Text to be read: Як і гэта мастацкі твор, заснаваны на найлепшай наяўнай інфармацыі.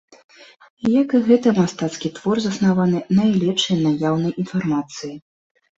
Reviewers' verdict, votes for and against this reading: rejected, 1, 2